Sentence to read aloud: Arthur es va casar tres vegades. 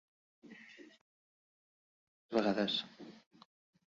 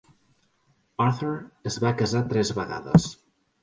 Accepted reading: second